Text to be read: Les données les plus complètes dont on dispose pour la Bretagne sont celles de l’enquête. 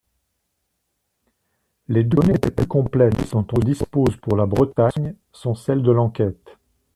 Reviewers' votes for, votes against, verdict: 0, 2, rejected